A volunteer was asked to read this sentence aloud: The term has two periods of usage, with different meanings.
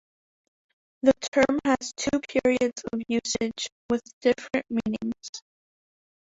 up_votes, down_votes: 1, 2